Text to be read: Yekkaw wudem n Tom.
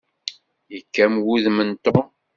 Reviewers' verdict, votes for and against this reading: rejected, 0, 2